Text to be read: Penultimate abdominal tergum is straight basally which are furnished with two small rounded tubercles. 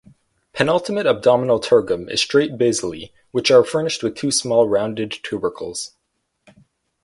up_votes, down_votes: 4, 0